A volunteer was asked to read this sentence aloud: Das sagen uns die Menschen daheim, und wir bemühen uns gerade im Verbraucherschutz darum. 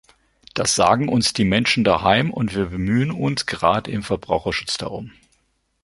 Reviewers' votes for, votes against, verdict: 2, 0, accepted